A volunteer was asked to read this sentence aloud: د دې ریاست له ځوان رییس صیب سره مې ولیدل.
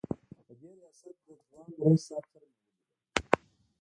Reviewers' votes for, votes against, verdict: 0, 2, rejected